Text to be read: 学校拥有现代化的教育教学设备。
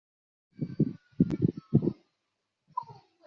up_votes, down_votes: 0, 2